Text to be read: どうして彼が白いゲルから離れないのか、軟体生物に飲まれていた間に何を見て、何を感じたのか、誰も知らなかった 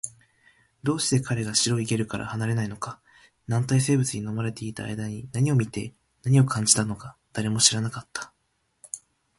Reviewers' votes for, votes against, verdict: 2, 0, accepted